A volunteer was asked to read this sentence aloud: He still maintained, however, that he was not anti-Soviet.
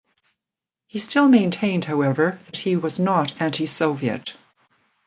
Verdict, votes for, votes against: rejected, 1, 2